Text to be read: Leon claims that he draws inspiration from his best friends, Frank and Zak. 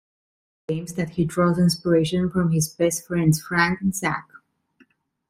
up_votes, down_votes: 0, 2